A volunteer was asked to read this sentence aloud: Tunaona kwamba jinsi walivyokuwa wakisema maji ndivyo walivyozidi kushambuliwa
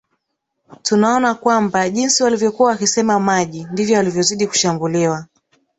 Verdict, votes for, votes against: rejected, 1, 2